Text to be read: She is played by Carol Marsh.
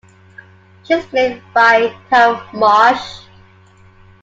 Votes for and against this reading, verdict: 2, 1, accepted